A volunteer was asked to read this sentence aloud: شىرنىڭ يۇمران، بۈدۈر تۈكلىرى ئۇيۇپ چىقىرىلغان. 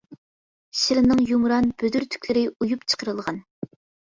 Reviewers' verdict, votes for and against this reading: accepted, 2, 1